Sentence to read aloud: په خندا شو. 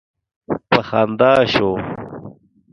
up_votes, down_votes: 1, 2